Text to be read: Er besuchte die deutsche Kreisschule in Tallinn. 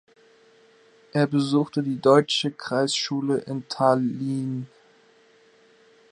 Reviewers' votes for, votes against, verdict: 1, 2, rejected